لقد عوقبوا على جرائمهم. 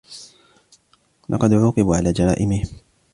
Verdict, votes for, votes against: accepted, 2, 0